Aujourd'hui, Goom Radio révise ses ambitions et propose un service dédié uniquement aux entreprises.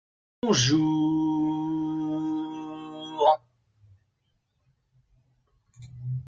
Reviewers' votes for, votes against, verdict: 0, 2, rejected